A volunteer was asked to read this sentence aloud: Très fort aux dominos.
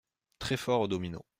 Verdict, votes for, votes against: accepted, 2, 0